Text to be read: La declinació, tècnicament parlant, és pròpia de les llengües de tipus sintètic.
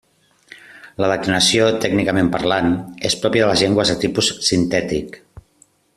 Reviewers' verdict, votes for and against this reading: accepted, 2, 0